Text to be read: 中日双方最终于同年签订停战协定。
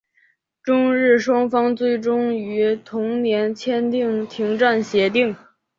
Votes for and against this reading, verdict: 4, 0, accepted